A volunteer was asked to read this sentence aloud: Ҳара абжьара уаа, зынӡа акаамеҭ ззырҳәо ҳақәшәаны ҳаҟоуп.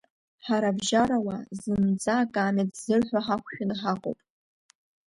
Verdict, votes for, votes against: accepted, 2, 0